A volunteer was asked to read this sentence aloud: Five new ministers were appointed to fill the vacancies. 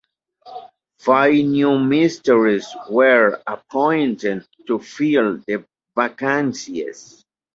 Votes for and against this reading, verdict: 2, 0, accepted